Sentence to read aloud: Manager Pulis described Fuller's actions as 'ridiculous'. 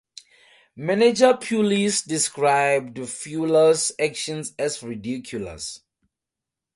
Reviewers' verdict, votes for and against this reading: accepted, 4, 0